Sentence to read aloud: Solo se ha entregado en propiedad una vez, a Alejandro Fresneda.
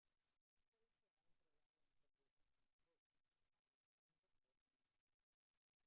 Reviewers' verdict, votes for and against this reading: rejected, 0, 2